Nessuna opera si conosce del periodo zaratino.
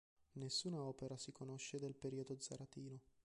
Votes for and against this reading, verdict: 1, 2, rejected